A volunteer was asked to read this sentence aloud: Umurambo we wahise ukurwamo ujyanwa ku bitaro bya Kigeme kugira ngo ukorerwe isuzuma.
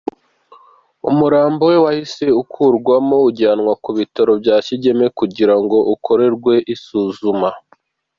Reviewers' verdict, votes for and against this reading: accepted, 2, 1